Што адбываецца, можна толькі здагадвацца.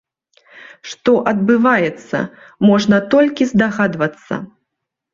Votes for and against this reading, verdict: 2, 0, accepted